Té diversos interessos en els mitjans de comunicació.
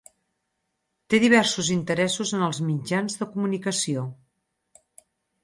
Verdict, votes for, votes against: accepted, 4, 2